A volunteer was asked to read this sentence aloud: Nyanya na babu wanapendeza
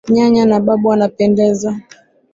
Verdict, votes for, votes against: rejected, 1, 2